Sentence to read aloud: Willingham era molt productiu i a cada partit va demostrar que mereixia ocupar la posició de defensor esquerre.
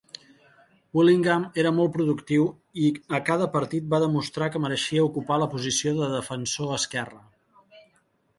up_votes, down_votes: 2, 0